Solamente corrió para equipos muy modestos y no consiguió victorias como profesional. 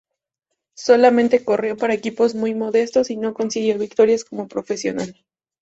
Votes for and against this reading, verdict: 2, 0, accepted